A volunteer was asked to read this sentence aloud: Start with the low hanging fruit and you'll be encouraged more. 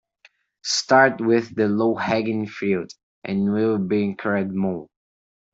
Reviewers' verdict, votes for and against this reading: rejected, 0, 2